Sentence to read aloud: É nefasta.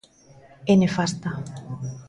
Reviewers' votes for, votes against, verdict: 2, 0, accepted